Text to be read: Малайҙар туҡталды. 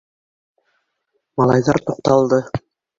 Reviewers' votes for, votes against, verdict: 1, 2, rejected